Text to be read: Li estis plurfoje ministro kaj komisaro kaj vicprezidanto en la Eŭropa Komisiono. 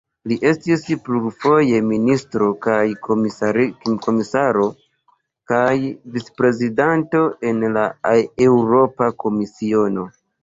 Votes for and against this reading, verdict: 1, 2, rejected